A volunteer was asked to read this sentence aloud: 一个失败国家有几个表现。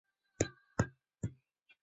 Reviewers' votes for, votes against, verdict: 1, 2, rejected